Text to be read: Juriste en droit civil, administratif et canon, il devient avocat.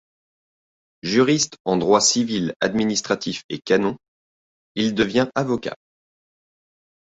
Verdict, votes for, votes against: accepted, 2, 0